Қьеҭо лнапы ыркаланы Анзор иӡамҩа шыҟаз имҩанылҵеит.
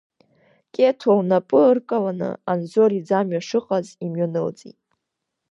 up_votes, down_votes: 2, 0